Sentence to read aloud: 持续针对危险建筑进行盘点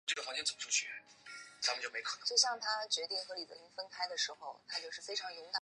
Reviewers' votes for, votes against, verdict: 4, 2, accepted